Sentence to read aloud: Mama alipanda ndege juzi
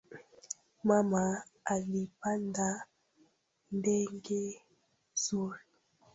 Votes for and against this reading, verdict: 0, 3, rejected